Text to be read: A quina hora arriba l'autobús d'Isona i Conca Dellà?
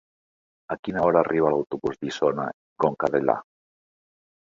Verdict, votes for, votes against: rejected, 0, 2